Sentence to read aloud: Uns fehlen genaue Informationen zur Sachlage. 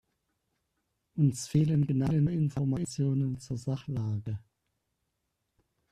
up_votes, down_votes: 0, 2